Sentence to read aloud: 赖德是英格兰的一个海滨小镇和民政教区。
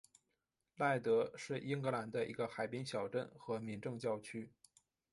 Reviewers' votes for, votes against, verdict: 2, 0, accepted